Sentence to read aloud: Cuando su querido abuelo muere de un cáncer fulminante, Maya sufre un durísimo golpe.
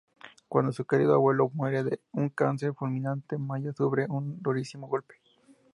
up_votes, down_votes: 2, 0